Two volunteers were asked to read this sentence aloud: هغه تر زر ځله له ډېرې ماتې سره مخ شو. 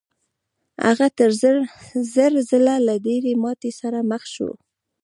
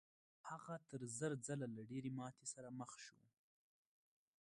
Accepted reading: second